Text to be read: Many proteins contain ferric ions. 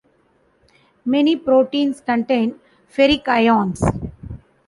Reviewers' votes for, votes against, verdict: 2, 0, accepted